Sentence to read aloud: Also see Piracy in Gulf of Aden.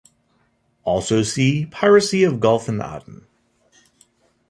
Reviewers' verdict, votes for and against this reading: rejected, 0, 2